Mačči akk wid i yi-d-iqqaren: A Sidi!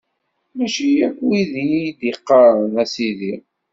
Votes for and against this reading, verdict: 2, 0, accepted